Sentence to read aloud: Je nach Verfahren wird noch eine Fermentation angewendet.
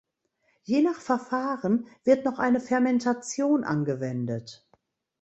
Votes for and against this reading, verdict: 2, 0, accepted